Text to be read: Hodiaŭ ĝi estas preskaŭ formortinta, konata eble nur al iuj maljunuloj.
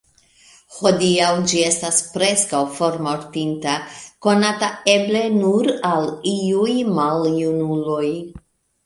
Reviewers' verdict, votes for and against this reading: accepted, 2, 0